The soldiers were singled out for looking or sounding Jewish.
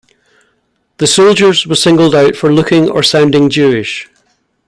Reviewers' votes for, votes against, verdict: 0, 2, rejected